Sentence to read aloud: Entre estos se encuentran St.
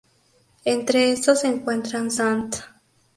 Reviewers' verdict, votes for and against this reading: rejected, 0, 2